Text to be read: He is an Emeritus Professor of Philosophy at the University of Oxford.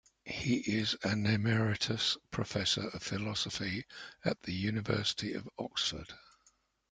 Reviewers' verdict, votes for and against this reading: accepted, 2, 1